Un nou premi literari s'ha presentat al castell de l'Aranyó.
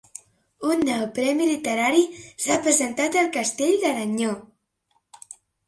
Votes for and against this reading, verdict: 1, 3, rejected